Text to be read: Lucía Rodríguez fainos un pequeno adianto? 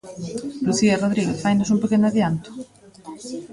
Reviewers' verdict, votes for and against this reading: rejected, 0, 2